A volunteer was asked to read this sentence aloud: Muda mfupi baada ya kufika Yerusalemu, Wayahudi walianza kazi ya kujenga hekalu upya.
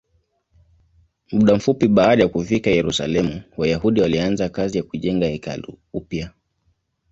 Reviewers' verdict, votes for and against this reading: accepted, 2, 0